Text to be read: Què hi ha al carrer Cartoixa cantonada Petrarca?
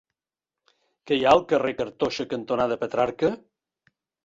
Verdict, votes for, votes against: rejected, 1, 2